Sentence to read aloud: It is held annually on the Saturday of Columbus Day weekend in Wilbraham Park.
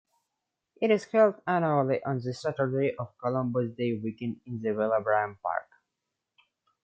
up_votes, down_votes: 0, 2